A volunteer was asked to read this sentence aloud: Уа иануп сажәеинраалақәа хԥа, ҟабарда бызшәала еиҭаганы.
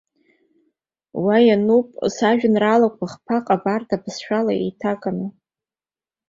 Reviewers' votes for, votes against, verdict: 2, 0, accepted